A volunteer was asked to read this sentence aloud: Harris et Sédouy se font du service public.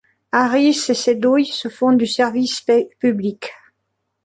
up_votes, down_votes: 1, 2